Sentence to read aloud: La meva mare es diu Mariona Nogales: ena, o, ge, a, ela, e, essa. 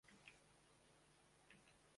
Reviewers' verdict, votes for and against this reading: rejected, 0, 2